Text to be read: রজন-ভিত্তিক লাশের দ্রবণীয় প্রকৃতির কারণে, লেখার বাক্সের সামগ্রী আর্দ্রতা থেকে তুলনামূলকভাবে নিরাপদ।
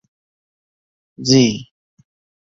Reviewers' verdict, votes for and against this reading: rejected, 0, 2